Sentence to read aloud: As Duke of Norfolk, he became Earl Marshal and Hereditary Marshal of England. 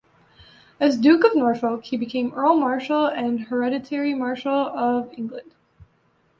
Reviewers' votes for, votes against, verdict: 2, 1, accepted